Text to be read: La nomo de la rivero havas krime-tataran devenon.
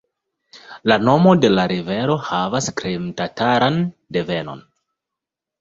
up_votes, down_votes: 1, 3